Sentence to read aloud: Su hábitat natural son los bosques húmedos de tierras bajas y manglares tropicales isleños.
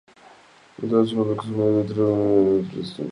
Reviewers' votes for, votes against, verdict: 0, 2, rejected